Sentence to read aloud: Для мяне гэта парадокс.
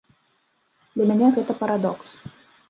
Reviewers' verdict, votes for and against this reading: rejected, 1, 2